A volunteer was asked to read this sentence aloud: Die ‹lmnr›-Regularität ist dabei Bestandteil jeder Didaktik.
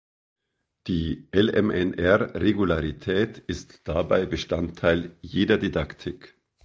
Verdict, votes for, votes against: rejected, 1, 2